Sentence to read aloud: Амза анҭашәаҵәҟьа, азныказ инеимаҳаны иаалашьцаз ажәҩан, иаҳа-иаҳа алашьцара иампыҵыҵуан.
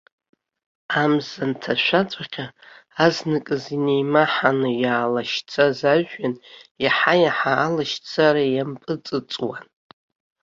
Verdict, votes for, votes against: accepted, 2, 0